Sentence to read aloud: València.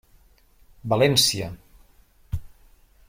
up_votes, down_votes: 3, 0